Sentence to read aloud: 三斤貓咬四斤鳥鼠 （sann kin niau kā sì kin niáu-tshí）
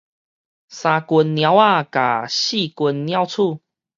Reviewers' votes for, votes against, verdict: 2, 2, rejected